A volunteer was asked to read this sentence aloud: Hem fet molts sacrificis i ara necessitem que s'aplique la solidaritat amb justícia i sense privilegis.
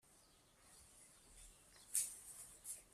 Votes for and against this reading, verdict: 0, 2, rejected